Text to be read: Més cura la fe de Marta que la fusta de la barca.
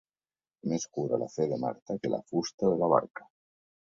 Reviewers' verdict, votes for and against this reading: rejected, 1, 2